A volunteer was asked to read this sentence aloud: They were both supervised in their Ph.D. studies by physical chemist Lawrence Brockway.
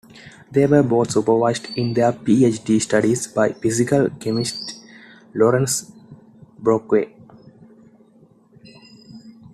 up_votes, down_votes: 2, 0